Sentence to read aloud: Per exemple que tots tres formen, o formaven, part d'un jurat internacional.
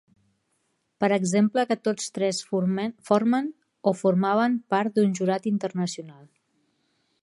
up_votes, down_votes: 0, 2